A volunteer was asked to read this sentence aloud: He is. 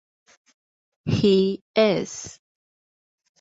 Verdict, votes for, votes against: accepted, 4, 0